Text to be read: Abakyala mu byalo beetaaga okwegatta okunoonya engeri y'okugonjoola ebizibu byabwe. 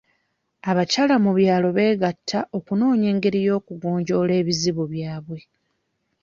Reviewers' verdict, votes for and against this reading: rejected, 1, 2